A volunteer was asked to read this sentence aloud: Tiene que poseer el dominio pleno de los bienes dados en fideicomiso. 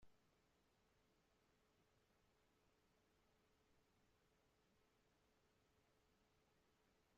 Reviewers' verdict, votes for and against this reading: rejected, 0, 2